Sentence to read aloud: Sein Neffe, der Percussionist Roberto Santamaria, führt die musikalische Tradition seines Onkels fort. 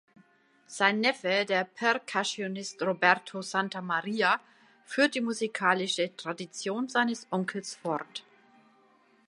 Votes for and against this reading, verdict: 2, 0, accepted